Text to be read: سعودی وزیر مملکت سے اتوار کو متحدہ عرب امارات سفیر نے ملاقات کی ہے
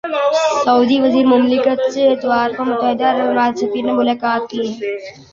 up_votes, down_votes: 0, 2